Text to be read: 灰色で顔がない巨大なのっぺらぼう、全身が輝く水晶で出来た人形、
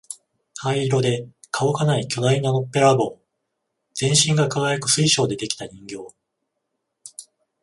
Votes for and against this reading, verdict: 14, 7, accepted